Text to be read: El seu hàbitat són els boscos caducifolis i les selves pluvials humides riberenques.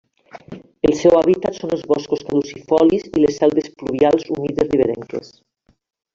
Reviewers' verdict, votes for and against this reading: rejected, 0, 2